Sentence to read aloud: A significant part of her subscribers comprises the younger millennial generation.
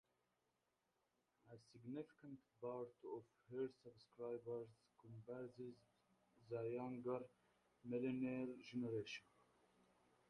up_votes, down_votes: 0, 2